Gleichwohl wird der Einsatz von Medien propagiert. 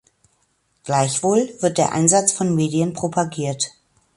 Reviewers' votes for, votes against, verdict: 2, 0, accepted